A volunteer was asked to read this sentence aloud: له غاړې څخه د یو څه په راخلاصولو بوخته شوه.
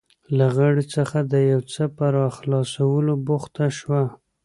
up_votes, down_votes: 2, 0